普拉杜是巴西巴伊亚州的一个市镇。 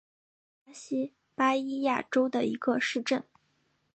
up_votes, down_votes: 3, 2